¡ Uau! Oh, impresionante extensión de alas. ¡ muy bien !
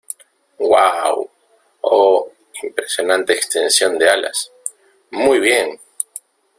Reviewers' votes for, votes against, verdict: 2, 0, accepted